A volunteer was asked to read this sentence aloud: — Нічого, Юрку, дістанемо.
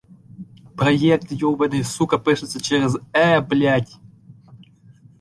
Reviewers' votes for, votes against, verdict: 0, 2, rejected